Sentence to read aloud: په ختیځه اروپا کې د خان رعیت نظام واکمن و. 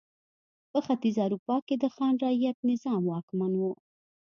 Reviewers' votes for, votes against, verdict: 2, 0, accepted